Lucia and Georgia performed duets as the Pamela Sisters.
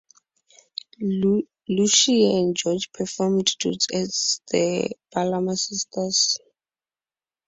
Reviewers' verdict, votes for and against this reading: rejected, 0, 2